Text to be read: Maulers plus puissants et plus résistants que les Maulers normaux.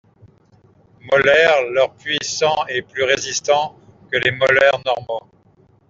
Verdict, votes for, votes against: rejected, 1, 2